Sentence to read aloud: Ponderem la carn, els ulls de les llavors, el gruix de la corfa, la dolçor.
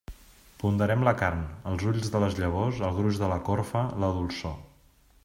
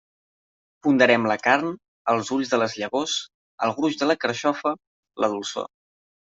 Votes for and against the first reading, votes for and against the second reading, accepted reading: 2, 0, 1, 2, first